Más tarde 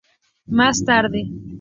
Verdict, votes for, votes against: accepted, 2, 0